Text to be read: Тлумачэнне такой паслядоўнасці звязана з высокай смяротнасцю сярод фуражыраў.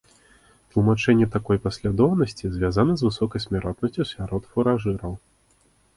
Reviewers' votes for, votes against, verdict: 2, 0, accepted